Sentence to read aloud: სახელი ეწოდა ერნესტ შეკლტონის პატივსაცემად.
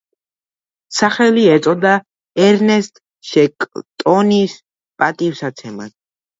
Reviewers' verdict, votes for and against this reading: accepted, 2, 0